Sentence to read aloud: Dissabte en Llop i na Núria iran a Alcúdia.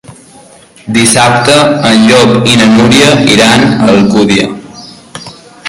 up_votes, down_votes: 0, 3